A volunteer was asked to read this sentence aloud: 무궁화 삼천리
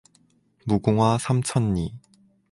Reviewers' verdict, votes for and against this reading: rejected, 0, 2